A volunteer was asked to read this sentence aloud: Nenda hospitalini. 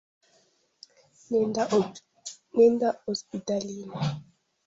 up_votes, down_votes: 0, 2